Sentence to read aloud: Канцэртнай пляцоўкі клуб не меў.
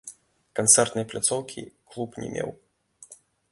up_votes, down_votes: 1, 2